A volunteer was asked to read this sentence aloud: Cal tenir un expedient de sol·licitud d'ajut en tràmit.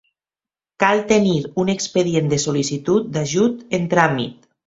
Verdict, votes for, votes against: accepted, 2, 0